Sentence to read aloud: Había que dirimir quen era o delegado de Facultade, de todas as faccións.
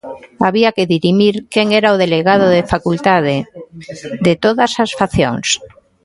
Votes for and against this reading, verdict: 2, 0, accepted